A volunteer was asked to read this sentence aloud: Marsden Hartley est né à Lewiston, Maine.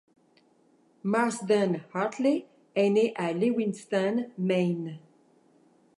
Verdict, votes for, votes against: accepted, 2, 1